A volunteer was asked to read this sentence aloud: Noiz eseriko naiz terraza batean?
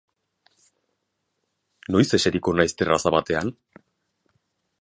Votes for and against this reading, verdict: 3, 0, accepted